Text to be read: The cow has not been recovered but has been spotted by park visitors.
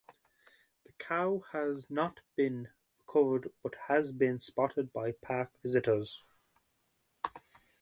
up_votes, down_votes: 4, 0